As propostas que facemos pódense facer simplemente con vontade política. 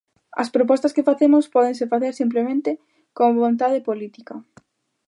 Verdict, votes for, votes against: rejected, 1, 2